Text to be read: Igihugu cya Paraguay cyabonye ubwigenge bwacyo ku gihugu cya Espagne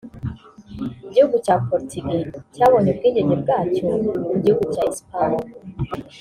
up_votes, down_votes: 2, 3